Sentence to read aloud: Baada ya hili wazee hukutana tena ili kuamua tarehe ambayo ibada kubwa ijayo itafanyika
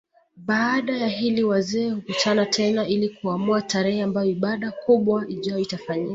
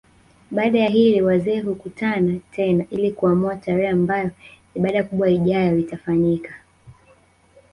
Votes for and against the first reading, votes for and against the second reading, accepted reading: 2, 0, 1, 2, first